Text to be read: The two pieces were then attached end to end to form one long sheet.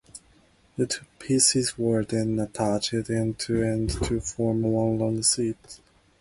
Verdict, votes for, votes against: rejected, 0, 2